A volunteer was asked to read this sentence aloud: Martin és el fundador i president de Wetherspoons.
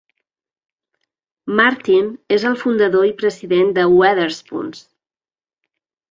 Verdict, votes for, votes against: rejected, 1, 2